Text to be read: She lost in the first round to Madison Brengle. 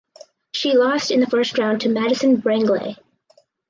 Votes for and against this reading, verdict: 2, 2, rejected